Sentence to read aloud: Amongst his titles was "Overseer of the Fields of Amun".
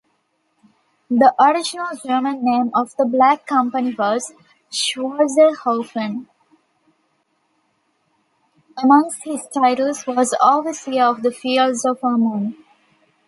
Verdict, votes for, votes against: rejected, 1, 2